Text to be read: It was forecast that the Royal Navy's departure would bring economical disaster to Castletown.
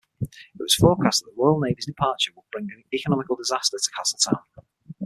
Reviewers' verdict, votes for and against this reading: accepted, 6, 3